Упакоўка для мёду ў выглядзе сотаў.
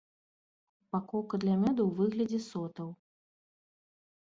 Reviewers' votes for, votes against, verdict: 2, 0, accepted